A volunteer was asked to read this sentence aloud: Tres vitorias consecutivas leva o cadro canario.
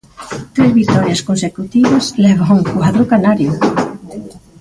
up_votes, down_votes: 0, 2